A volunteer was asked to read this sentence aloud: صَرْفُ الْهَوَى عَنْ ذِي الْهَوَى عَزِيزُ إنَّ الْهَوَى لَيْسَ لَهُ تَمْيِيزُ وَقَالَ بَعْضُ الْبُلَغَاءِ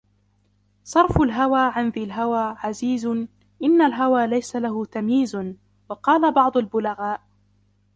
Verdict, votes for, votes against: rejected, 0, 2